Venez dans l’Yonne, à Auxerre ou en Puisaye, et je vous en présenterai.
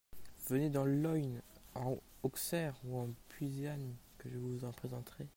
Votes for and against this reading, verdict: 0, 2, rejected